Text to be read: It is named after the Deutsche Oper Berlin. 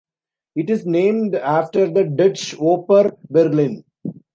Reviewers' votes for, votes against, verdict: 0, 2, rejected